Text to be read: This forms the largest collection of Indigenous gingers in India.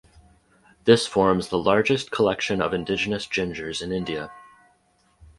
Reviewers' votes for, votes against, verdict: 4, 2, accepted